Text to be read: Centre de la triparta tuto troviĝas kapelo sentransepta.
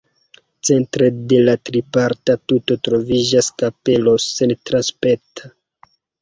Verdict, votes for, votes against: rejected, 1, 2